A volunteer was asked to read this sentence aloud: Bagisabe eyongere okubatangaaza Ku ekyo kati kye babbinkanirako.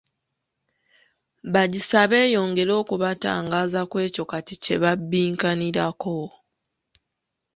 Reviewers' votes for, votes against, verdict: 2, 0, accepted